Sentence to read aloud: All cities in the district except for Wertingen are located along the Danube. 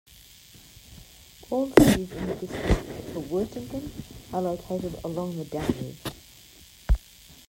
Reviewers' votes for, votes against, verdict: 1, 2, rejected